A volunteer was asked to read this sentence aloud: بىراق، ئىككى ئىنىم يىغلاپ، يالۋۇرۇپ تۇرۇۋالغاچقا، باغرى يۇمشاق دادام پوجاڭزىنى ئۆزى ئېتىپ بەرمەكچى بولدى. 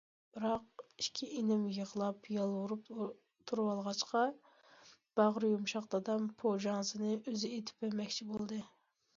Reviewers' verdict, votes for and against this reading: rejected, 1, 2